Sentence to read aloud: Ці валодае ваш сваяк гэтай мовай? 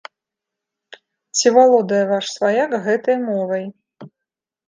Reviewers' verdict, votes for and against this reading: accepted, 2, 0